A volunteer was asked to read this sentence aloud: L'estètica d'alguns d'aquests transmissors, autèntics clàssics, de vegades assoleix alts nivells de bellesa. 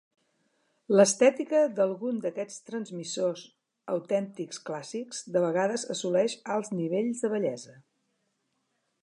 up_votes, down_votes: 2, 0